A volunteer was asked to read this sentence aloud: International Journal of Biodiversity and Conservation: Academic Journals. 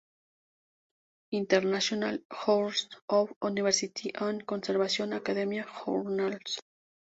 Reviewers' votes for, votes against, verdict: 0, 2, rejected